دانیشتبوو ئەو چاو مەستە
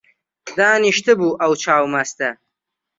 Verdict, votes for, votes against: accepted, 3, 0